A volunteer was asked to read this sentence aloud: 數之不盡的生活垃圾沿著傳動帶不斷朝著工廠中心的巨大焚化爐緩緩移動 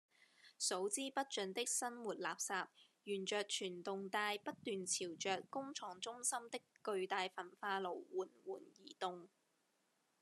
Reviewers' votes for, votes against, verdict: 2, 0, accepted